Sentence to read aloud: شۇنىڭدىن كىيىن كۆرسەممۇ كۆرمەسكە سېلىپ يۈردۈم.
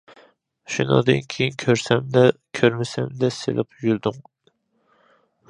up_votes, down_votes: 0, 2